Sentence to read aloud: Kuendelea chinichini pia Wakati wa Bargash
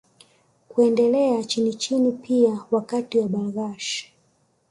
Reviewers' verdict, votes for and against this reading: accepted, 2, 0